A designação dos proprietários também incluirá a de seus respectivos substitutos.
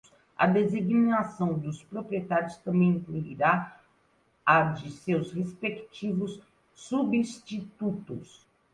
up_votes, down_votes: 2, 1